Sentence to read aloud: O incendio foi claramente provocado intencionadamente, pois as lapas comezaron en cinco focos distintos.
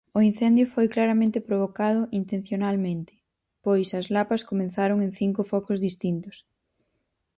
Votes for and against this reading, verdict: 0, 4, rejected